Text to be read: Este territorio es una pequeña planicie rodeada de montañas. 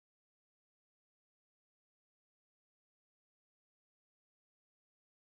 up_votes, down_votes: 0, 2